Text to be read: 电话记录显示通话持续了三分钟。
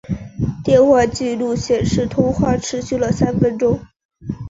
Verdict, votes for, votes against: accepted, 2, 0